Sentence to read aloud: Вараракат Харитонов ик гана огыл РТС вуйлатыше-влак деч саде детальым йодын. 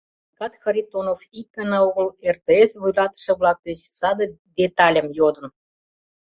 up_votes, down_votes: 0, 2